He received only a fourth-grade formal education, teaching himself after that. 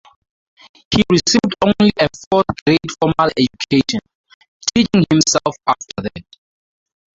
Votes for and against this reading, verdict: 0, 2, rejected